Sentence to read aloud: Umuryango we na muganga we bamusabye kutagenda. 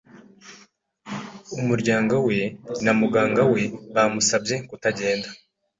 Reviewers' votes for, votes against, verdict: 2, 0, accepted